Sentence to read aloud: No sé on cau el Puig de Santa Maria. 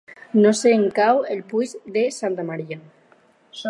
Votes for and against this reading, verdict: 4, 2, accepted